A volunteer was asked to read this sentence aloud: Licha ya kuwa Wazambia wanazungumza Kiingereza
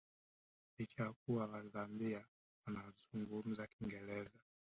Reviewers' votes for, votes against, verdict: 0, 2, rejected